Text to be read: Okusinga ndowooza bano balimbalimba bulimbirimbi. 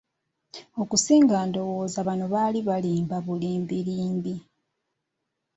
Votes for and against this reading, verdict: 0, 2, rejected